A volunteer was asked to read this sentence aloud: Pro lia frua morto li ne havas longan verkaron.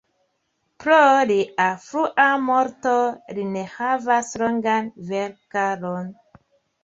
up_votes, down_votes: 1, 2